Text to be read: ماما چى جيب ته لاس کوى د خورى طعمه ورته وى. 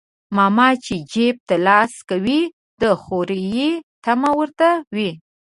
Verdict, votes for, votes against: accepted, 2, 1